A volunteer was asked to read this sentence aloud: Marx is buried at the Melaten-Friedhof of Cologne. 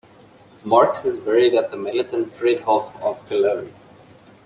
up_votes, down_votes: 0, 2